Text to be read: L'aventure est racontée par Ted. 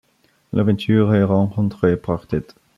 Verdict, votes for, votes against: rejected, 0, 2